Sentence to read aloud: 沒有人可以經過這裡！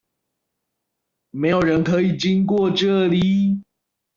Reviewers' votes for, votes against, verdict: 1, 2, rejected